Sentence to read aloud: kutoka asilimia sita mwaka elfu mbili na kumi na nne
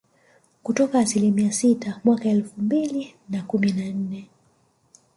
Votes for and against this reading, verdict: 2, 0, accepted